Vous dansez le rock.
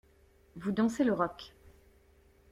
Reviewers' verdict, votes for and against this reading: accepted, 2, 0